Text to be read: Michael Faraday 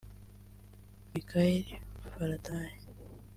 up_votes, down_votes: 1, 2